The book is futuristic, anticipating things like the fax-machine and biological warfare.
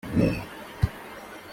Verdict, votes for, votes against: rejected, 0, 2